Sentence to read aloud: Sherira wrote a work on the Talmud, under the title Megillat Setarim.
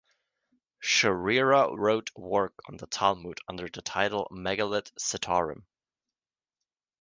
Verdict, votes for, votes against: rejected, 0, 2